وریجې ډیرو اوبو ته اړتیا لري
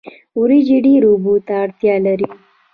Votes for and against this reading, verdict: 1, 2, rejected